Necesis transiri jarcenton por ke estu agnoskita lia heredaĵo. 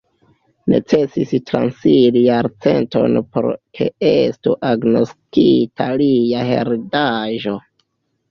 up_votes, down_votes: 2, 0